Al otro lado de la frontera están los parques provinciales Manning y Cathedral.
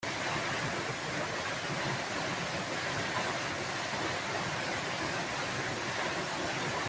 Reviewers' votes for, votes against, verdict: 0, 2, rejected